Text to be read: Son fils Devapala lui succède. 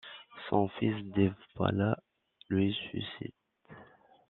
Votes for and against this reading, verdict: 1, 2, rejected